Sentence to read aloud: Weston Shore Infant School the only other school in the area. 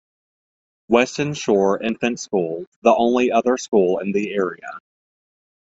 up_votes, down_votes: 2, 0